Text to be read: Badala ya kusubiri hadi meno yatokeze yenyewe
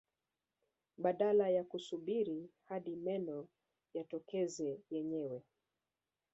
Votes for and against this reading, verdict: 2, 1, accepted